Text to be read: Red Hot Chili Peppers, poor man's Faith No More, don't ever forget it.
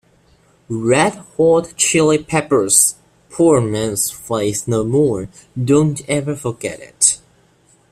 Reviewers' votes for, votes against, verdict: 1, 2, rejected